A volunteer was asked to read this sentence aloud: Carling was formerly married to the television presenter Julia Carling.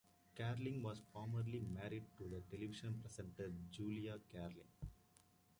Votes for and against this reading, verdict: 2, 1, accepted